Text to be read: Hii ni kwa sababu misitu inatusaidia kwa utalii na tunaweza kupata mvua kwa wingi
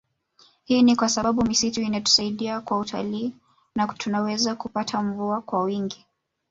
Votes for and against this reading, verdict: 2, 1, accepted